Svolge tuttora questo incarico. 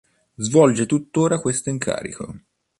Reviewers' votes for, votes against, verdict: 2, 0, accepted